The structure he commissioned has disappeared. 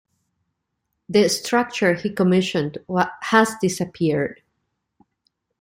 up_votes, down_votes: 0, 2